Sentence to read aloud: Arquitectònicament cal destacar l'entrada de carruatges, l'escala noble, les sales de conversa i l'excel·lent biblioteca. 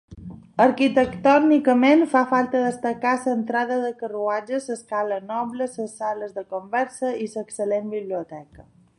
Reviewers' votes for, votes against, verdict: 0, 2, rejected